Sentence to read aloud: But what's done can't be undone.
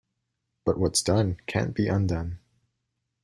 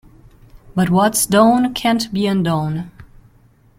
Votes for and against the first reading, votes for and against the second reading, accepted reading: 2, 0, 0, 2, first